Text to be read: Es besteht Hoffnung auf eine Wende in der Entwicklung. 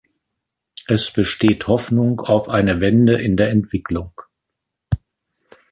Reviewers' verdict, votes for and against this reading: rejected, 1, 2